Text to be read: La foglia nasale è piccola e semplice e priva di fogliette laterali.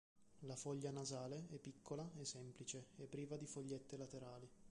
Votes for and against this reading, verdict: 2, 1, accepted